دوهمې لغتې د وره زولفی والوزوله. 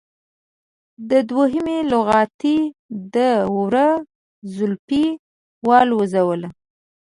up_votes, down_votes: 1, 2